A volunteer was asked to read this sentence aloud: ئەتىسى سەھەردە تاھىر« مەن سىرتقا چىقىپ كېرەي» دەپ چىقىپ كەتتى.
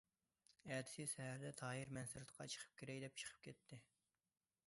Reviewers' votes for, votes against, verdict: 2, 1, accepted